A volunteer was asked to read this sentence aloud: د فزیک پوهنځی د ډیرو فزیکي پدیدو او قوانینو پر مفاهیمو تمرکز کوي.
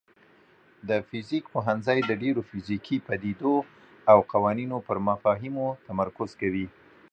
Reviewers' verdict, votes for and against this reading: accepted, 2, 0